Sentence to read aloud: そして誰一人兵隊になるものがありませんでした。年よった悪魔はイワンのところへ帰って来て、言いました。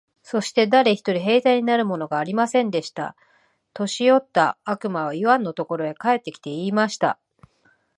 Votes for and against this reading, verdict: 2, 0, accepted